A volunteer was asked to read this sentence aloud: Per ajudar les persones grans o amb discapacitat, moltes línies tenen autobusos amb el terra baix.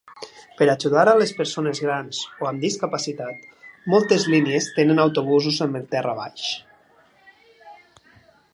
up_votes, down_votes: 2, 1